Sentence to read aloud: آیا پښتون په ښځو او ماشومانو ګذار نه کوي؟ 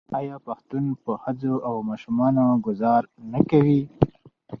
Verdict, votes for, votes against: accepted, 2, 0